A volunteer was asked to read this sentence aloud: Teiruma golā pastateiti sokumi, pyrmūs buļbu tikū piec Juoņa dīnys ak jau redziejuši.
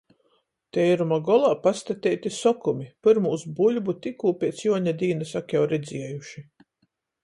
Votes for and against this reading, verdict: 14, 0, accepted